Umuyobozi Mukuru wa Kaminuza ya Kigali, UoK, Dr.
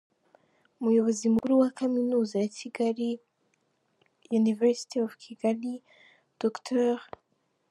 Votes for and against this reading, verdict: 2, 0, accepted